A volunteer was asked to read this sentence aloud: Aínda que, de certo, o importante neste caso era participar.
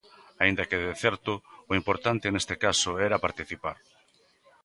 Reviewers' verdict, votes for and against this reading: accepted, 2, 0